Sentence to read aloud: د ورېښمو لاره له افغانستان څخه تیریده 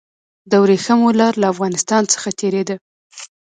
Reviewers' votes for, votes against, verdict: 1, 2, rejected